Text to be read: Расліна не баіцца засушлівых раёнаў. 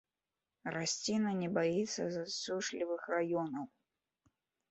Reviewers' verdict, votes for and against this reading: rejected, 0, 2